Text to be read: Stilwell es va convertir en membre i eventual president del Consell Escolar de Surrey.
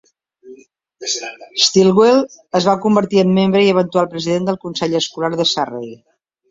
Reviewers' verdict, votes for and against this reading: rejected, 0, 2